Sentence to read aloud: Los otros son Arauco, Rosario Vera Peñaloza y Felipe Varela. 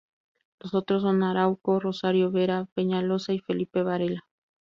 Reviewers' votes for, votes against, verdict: 2, 0, accepted